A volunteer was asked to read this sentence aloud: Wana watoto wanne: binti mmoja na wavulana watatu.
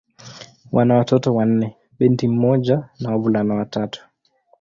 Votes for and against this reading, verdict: 2, 0, accepted